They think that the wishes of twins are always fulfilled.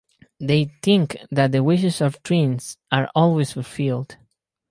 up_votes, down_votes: 0, 2